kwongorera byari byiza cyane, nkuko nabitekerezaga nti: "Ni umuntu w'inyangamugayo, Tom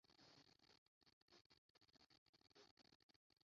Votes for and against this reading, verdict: 0, 2, rejected